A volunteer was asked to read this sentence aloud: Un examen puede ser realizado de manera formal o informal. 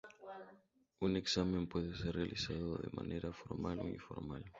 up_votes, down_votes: 2, 0